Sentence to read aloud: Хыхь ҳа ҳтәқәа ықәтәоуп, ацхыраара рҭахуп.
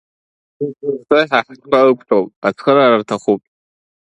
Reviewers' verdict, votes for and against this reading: rejected, 1, 2